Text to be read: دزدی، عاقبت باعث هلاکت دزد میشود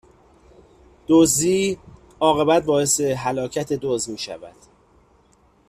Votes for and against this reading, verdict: 2, 0, accepted